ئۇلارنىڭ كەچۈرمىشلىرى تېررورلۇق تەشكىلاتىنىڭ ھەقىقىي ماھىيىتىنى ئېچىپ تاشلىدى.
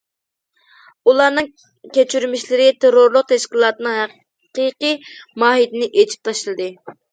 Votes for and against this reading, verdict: 2, 0, accepted